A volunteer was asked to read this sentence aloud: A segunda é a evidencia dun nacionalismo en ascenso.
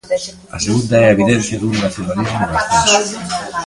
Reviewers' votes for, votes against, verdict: 0, 2, rejected